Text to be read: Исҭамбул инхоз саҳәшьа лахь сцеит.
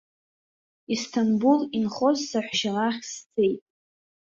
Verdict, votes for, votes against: accepted, 2, 0